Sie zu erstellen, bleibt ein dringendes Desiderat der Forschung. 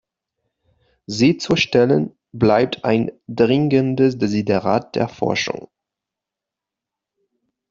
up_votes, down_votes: 1, 2